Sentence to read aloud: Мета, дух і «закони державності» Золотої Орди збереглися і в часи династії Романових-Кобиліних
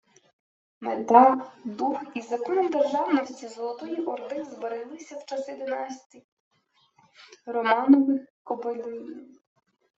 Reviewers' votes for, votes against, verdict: 0, 2, rejected